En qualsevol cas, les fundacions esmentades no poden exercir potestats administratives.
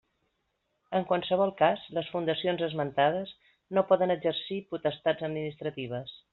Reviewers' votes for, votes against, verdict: 3, 0, accepted